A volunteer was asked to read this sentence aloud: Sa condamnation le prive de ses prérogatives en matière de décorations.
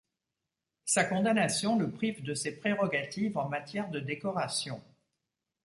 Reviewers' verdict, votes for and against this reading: accepted, 2, 0